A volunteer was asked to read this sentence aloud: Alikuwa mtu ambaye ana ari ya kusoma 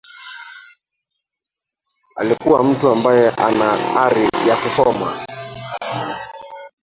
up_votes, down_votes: 0, 2